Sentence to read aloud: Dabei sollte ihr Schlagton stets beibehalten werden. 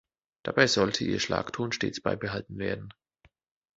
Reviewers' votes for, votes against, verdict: 2, 0, accepted